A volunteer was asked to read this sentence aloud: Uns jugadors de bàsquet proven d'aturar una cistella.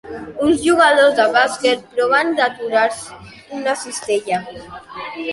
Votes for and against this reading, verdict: 2, 0, accepted